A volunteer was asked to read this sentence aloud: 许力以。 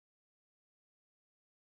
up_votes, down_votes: 0, 2